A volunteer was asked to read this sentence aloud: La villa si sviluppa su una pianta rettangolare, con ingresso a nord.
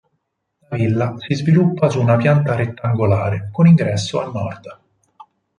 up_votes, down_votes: 2, 6